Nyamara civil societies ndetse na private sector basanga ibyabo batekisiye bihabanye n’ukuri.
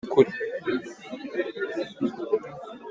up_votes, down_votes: 0, 3